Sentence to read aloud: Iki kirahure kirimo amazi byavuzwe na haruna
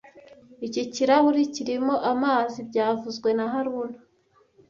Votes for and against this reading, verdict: 2, 0, accepted